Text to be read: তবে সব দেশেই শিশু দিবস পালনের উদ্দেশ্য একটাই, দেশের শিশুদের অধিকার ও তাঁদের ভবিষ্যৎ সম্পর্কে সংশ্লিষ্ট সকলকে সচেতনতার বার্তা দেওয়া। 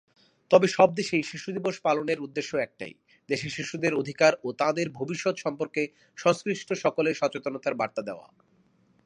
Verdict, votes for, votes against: accepted, 2, 1